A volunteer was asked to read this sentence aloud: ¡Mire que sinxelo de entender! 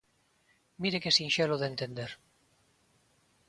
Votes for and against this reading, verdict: 2, 0, accepted